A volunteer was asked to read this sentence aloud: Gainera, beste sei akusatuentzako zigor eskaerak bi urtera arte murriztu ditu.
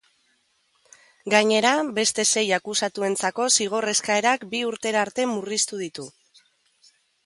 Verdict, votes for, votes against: accepted, 2, 1